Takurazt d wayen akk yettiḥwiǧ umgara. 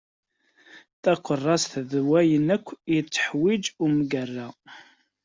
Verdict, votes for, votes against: accepted, 2, 0